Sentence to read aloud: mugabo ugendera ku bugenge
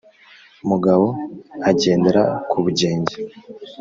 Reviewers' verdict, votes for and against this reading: rejected, 1, 2